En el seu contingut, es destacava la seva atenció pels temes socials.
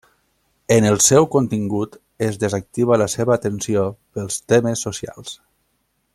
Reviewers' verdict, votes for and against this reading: rejected, 0, 2